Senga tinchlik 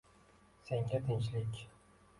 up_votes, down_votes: 2, 1